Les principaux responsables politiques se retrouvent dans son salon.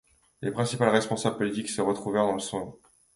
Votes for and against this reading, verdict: 1, 2, rejected